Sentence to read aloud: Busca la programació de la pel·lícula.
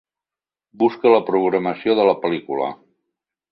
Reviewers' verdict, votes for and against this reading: accepted, 3, 0